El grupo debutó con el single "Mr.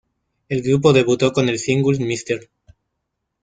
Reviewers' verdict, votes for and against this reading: rejected, 1, 3